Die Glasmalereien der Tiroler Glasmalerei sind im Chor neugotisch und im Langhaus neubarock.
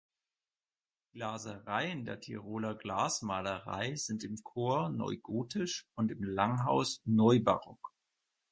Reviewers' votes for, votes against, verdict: 0, 4, rejected